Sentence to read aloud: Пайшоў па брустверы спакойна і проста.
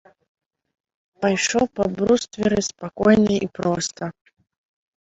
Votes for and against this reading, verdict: 2, 0, accepted